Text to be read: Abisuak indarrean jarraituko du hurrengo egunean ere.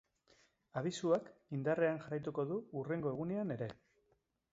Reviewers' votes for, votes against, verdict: 2, 0, accepted